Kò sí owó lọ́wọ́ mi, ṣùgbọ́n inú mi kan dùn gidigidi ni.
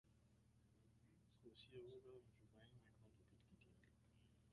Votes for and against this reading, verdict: 0, 2, rejected